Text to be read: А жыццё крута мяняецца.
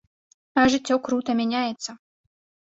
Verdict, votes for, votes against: accepted, 2, 0